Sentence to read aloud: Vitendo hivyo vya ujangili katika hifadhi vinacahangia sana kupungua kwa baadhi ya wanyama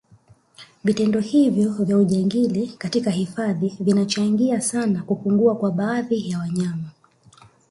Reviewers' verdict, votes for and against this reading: accepted, 2, 0